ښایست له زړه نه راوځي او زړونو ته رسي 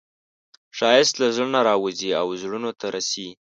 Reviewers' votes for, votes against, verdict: 2, 1, accepted